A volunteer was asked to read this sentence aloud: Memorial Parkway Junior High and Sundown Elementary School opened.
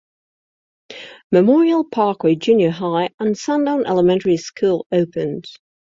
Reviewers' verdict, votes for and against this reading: accepted, 2, 0